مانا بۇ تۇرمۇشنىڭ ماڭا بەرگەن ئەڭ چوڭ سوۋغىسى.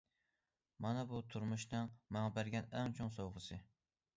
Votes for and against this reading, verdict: 2, 0, accepted